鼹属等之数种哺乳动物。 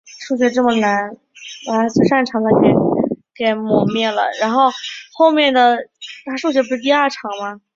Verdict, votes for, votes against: rejected, 0, 2